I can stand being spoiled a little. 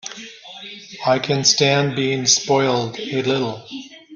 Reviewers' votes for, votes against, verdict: 2, 1, accepted